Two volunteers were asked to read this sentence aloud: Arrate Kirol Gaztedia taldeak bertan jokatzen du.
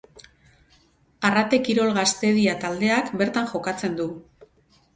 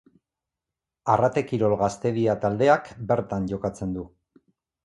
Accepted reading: second